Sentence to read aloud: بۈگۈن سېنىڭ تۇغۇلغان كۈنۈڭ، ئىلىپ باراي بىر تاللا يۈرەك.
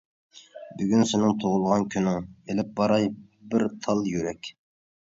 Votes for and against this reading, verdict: 1, 2, rejected